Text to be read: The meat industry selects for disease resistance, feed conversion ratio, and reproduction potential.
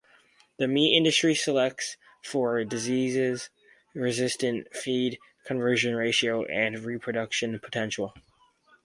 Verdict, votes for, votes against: rejected, 0, 4